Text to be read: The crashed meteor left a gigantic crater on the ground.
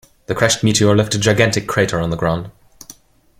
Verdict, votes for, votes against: accepted, 2, 0